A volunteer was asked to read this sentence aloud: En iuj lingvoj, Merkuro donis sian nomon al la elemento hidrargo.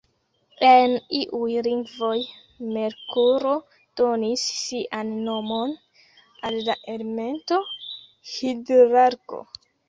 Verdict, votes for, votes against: rejected, 1, 2